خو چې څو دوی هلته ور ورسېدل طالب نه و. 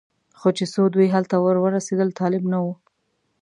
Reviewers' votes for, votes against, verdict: 2, 0, accepted